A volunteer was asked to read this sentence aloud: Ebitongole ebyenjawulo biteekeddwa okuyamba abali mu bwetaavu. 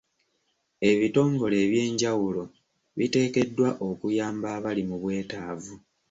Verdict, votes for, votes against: accepted, 2, 0